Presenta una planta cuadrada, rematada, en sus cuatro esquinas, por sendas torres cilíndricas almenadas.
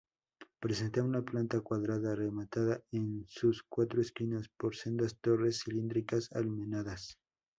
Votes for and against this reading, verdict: 2, 0, accepted